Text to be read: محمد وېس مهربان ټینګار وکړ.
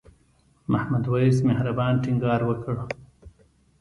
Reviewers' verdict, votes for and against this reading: rejected, 1, 2